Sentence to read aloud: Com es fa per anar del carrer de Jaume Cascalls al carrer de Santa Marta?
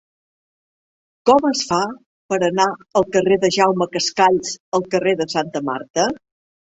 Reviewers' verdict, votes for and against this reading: rejected, 1, 2